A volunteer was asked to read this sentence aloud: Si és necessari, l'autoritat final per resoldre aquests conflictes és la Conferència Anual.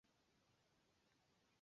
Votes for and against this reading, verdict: 1, 2, rejected